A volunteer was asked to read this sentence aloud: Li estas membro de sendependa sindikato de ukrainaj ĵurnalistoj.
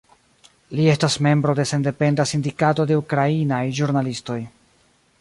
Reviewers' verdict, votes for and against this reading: accepted, 2, 0